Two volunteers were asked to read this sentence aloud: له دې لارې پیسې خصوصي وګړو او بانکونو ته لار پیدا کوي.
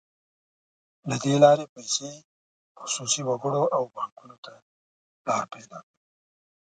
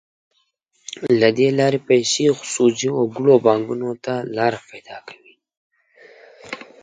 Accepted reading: second